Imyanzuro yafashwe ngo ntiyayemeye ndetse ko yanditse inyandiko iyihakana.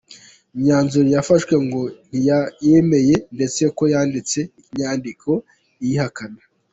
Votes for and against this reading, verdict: 2, 0, accepted